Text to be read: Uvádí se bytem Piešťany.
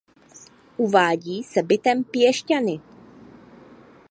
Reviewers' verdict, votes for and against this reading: accepted, 2, 0